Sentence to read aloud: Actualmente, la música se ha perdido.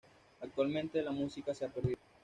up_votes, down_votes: 1, 2